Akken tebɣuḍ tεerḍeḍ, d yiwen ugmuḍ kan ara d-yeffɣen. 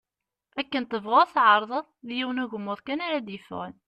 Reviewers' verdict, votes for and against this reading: accepted, 2, 0